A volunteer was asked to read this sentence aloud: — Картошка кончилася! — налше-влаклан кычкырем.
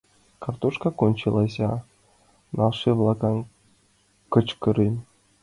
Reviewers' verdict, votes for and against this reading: accepted, 2, 0